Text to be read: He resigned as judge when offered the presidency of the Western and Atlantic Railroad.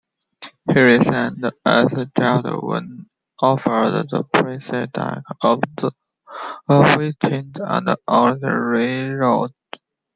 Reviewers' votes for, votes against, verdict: 0, 2, rejected